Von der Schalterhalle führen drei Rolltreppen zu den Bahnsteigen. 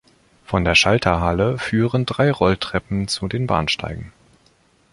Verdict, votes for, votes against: accepted, 2, 0